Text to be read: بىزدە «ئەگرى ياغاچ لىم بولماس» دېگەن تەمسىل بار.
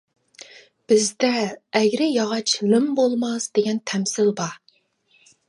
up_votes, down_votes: 1, 2